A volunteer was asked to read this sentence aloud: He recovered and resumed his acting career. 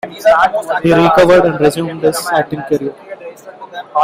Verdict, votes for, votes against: rejected, 0, 2